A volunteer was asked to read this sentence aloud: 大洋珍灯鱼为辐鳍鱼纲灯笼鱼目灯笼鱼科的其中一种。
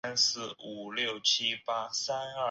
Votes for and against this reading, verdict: 2, 5, rejected